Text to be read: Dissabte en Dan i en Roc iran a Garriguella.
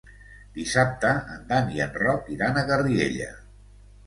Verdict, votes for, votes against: accepted, 2, 1